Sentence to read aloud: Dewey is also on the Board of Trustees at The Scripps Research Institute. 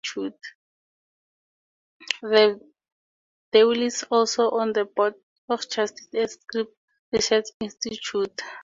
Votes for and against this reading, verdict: 0, 4, rejected